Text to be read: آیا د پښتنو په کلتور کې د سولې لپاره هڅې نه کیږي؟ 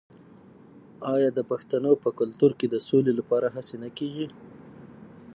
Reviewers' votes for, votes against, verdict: 3, 6, rejected